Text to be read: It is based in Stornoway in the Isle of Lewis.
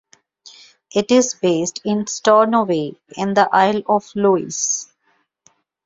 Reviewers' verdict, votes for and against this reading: accepted, 2, 0